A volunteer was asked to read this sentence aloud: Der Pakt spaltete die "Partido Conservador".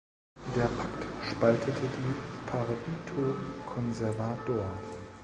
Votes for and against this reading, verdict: 0, 2, rejected